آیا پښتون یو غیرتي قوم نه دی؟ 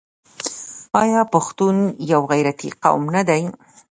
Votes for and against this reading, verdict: 1, 2, rejected